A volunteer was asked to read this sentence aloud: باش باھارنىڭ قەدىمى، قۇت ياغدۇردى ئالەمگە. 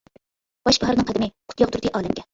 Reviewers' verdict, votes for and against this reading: rejected, 1, 2